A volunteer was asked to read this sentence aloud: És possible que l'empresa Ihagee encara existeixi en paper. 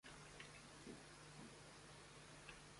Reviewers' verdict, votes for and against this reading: rejected, 0, 2